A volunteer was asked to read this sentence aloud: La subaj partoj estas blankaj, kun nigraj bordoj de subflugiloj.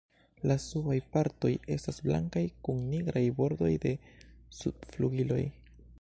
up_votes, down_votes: 3, 0